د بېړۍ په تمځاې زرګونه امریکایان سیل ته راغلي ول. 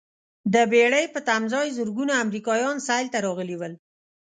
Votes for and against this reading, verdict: 3, 0, accepted